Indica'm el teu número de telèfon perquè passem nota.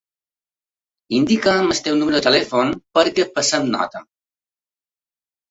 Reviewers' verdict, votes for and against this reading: rejected, 1, 2